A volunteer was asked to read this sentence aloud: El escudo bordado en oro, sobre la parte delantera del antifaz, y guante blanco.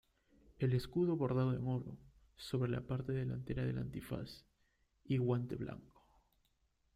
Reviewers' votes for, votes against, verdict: 2, 1, accepted